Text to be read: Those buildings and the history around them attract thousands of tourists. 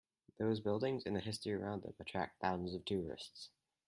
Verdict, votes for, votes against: rejected, 2, 2